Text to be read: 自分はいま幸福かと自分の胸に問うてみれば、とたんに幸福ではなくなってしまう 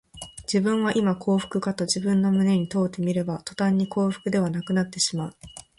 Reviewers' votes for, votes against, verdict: 11, 1, accepted